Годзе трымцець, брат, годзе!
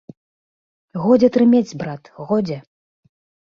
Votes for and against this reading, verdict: 0, 2, rejected